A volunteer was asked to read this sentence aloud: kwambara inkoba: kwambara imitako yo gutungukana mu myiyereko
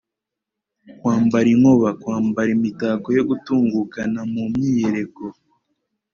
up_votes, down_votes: 2, 0